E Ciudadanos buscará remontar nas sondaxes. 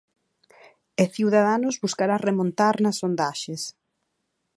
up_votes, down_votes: 4, 0